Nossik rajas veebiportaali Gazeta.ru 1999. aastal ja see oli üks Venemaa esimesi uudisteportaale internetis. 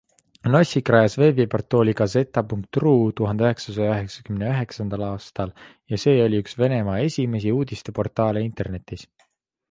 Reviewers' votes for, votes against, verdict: 0, 2, rejected